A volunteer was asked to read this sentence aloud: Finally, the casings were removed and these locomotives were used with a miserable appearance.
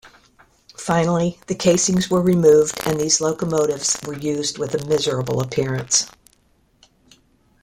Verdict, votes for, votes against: accepted, 2, 0